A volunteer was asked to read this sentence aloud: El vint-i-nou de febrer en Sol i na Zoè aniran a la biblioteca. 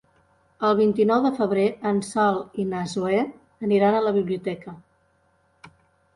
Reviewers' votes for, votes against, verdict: 2, 0, accepted